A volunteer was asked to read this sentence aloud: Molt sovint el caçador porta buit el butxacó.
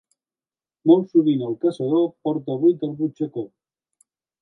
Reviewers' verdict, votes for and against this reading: accepted, 2, 0